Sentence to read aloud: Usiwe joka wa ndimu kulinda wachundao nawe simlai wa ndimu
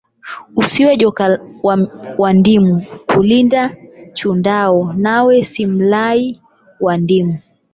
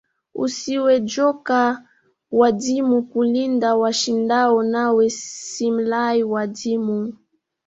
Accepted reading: first